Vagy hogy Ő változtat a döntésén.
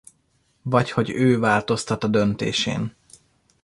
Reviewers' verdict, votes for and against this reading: rejected, 0, 2